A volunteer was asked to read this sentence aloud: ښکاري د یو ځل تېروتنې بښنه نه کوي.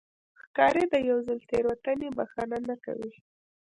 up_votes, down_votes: 0, 2